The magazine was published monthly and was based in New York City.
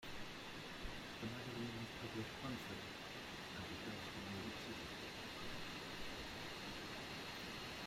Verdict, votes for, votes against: rejected, 0, 2